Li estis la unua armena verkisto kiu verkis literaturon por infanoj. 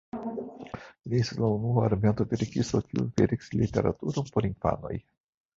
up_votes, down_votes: 0, 2